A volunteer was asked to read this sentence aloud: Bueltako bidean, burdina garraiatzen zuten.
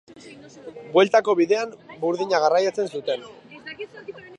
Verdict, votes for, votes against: rejected, 0, 2